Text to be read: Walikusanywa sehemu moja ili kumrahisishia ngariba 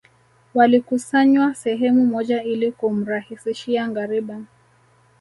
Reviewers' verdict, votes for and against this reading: rejected, 1, 2